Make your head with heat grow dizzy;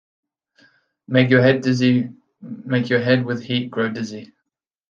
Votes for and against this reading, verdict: 0, 2, rejected